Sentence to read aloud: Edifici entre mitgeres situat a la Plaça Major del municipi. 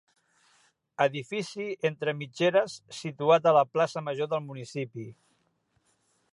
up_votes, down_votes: 3, 0